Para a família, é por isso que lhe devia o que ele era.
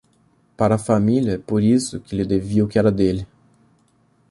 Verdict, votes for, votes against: rejected, 0, 2